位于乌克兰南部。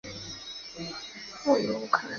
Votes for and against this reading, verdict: 0, 3, rejected